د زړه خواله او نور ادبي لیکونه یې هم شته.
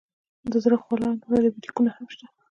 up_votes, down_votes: 1, 2